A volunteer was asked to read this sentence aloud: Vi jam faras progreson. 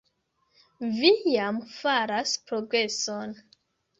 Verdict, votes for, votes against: accepted, 2, 1